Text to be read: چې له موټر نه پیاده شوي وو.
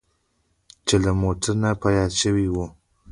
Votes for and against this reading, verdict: 2, 1, accepted